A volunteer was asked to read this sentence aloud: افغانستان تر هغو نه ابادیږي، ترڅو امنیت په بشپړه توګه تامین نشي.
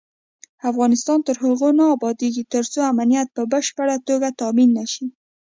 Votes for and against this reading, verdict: 2, 0, accepted